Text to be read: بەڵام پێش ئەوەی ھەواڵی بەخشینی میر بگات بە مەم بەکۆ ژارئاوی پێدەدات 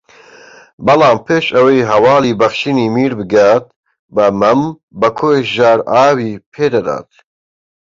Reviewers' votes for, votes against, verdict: 2, 1, accepted